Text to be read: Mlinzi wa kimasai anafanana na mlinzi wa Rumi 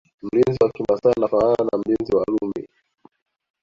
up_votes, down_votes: 1, 2